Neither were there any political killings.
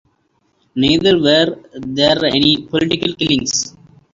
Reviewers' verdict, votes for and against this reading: accepted, 2, 1